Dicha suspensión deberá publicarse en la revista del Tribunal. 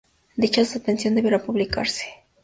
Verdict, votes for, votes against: rejected, 0, 2